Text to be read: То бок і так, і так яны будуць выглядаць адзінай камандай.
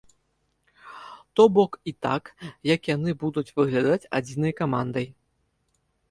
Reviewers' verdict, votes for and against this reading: rejected, 0, 2